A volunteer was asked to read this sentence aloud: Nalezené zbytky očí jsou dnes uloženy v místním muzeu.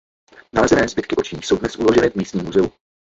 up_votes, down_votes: 0, 2